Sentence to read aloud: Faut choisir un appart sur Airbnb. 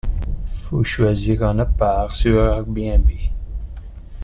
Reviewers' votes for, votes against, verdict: 1, 2, rejected